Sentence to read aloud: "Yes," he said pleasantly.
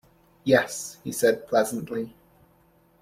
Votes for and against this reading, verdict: 2, 0, accepted